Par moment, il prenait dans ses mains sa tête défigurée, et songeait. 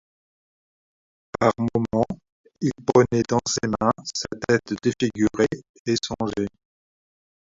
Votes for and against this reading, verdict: 2, 1, accepted